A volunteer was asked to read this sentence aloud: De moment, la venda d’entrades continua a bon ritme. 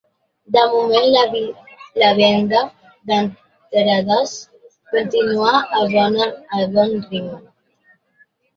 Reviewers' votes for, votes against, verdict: 0, 2, rejected